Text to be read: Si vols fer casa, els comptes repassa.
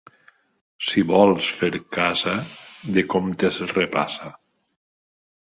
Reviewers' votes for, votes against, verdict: 0, 2, rejected